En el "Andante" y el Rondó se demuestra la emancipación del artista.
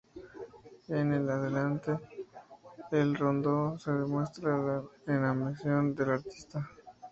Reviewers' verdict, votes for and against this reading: rejected, 0, 2